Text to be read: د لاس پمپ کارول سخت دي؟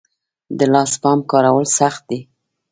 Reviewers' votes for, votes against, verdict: 1, 2, rejected